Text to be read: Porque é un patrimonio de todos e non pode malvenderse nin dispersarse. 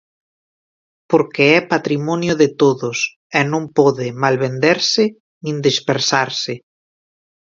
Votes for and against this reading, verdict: 1, 2, rejected